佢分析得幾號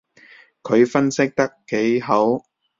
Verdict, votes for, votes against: rejected, 1, 2